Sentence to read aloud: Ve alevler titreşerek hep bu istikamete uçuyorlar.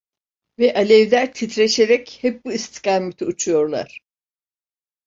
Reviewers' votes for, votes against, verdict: 2, 0, accepted